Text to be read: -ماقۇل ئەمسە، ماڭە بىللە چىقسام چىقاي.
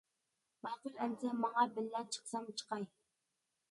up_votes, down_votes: 1, 2